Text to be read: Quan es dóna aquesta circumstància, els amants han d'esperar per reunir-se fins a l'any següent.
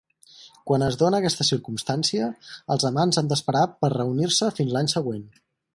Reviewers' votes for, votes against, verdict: 2, 4, rejected